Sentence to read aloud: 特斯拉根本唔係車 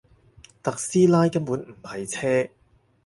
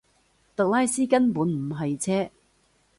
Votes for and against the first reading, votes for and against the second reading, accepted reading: 4, 0, 0, 2, first